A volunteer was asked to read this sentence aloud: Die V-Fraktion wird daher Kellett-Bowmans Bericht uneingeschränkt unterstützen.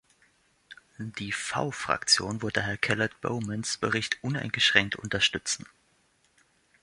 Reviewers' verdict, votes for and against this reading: rejected, 1, 2